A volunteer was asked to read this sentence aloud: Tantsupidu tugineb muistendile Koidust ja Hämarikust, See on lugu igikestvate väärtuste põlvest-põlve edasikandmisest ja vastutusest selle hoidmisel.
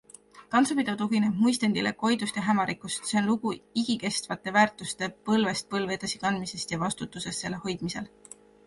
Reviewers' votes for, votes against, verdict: 2, 1, accepted